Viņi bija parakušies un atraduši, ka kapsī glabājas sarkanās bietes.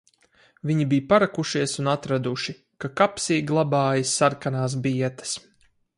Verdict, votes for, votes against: accepted, 4, 0